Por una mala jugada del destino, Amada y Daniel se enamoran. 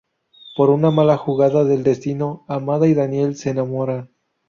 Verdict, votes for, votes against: rejected, 2, 2